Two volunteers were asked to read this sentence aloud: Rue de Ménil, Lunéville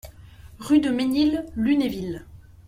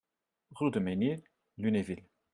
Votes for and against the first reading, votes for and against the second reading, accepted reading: 2, 0, 1, 2, first